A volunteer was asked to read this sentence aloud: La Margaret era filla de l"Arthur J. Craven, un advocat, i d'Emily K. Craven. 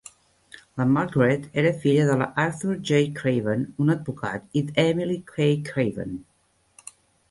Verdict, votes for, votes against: rejected, 0, 2